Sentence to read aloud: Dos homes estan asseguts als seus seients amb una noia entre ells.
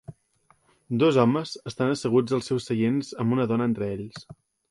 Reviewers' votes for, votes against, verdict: 0, 2, rejected